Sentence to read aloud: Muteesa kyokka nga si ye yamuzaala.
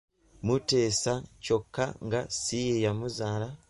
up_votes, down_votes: 1, 2